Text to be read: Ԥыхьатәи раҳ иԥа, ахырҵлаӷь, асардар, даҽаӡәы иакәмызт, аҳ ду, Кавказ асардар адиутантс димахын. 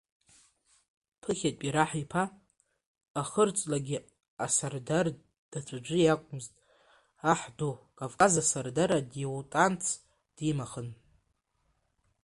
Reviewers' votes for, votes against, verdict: 0, 2, rejected